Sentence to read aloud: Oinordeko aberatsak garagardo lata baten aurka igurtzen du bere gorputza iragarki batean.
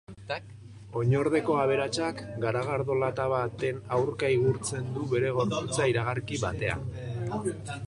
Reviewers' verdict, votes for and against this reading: rejected, 1, 2